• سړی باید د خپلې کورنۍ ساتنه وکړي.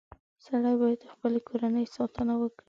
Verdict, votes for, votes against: accepted, 2, 0